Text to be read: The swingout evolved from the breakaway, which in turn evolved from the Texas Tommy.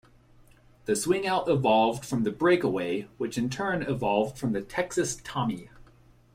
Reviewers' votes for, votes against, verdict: 2, 0, accepted